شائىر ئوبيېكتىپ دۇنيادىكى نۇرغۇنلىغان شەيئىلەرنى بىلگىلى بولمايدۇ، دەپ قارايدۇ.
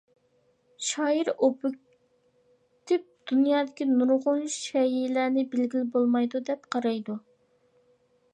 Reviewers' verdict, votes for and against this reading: rejected, 0, 2